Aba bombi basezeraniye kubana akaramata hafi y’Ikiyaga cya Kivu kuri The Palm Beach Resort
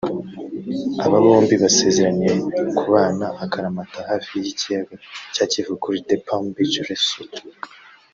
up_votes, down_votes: 1, 2